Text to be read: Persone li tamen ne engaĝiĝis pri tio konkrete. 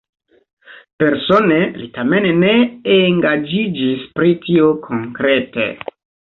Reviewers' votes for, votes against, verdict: 2, 0, accepted